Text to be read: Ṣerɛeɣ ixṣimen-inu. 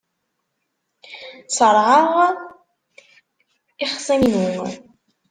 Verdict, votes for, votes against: accepted, 2, 1